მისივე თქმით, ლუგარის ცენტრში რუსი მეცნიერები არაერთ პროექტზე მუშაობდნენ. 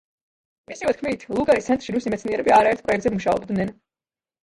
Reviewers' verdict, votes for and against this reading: rejected, 0, 2